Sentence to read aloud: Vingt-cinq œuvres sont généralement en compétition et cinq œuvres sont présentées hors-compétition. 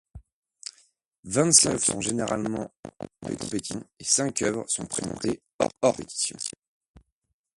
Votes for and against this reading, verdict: 0, 2, rejected